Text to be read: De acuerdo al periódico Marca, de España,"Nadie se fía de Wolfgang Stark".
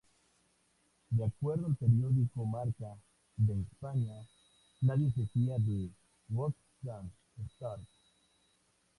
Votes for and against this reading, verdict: 2, 0, accepted